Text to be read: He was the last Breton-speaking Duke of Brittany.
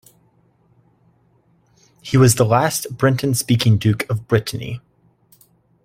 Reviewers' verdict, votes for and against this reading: rejected, 0, 2